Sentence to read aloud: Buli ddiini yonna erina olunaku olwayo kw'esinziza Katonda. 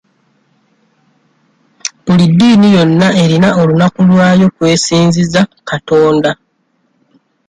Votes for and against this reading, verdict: 2, 0, accepted